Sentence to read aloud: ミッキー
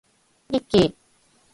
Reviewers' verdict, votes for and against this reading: accepted, 6, 0